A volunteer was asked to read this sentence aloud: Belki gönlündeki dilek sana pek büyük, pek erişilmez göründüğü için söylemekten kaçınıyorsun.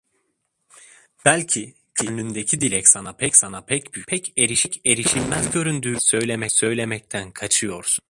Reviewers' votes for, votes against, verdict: 0, 2, rejected